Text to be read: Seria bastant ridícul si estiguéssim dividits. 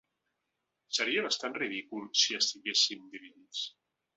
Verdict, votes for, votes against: accepted, 4, 0